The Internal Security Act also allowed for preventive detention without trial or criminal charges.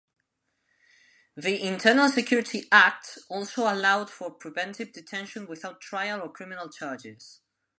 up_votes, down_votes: 2, 0